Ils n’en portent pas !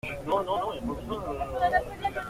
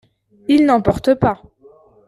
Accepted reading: second